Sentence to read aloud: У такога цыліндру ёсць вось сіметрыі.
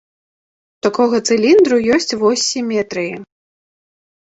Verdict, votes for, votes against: rejected, 1, 2